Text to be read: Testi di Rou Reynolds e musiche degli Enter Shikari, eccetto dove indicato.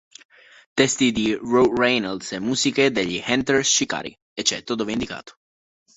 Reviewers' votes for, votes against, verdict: 2, 1, accepted